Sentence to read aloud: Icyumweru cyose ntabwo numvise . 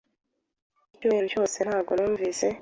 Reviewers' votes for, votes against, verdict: 2, 0, accepted